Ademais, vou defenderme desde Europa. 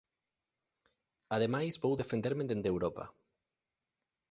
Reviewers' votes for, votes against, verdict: 0, 2, rejected